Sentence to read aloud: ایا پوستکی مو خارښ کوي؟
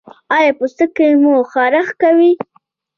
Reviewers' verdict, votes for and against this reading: accepted, 2, 0